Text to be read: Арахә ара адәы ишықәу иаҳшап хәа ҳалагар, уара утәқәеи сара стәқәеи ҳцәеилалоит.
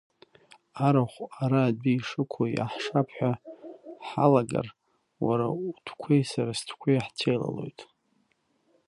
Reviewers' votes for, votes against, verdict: 1, 2, rejected